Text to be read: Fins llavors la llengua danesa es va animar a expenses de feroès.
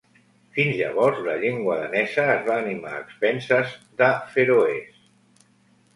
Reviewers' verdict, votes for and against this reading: accepted, 2, 1